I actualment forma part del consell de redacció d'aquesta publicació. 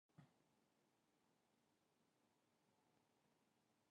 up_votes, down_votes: 1, 2